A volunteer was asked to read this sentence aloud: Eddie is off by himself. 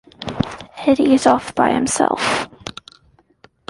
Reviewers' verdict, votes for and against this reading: accepted, 2, 1